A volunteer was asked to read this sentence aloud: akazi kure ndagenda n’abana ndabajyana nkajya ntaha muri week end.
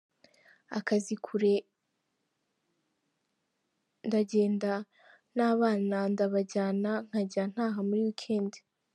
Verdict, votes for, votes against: rejected, 1, 2